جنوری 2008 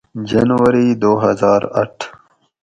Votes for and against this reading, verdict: 0, 2, rejected